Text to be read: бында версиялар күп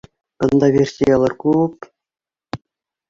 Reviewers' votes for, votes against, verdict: 2, 1, accepted